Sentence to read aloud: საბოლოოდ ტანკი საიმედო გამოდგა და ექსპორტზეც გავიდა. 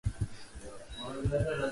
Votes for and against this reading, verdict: 0, 2, rejected